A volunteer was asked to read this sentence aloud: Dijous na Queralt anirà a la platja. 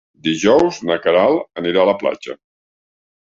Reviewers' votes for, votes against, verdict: 3, 0, accepted